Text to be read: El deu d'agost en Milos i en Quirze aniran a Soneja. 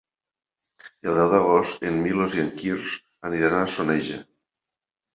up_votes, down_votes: 1, 2